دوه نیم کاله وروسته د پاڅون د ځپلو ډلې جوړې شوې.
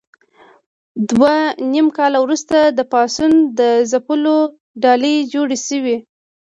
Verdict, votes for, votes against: rejected, 1, 2